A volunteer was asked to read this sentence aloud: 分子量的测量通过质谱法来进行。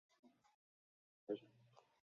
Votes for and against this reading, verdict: 3, 5, rejected